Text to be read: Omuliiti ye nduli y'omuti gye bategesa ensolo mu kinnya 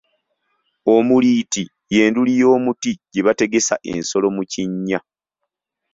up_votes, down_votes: 2, 0